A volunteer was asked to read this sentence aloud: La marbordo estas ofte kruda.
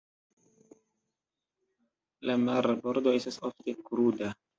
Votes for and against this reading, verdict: 1, 2, rejected